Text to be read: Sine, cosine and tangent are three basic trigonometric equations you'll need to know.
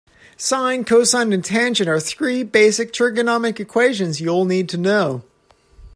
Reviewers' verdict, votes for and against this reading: rejected, 1, 2